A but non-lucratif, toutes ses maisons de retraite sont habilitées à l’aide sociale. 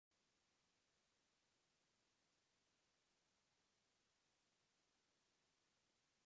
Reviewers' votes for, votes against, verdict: 0, 2, rejected